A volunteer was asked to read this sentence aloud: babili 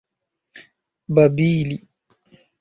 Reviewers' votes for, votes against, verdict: 3, 0, accepted